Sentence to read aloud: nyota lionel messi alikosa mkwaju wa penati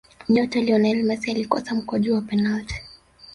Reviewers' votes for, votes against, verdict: 3, 0, accepted